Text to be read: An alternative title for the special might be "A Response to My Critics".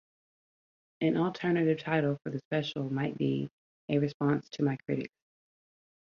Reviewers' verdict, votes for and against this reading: rejected, 3, 3